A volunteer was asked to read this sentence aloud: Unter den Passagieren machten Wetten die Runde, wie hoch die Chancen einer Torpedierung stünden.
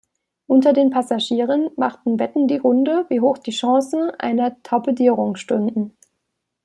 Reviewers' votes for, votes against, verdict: 2, 0, accepted